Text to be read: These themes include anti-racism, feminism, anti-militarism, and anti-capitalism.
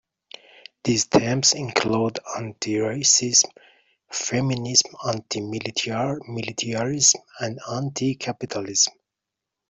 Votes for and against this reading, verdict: 1, 2, rejected